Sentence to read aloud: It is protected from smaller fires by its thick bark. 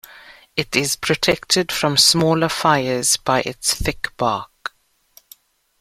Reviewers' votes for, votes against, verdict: 2, 0, accepted